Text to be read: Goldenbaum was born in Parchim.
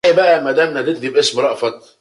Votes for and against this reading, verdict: 0, 2, rejected